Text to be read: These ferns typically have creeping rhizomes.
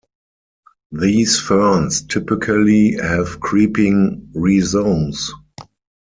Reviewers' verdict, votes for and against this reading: rejected, 2, 4